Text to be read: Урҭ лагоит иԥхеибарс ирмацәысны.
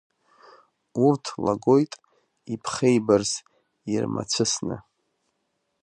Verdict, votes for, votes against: accepted, 2, 0